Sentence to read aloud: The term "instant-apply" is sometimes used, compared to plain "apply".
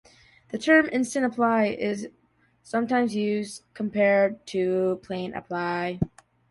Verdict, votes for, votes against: accepted, 3, 1